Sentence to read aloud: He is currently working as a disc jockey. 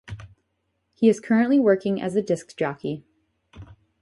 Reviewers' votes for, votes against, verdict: 2, 0, accepted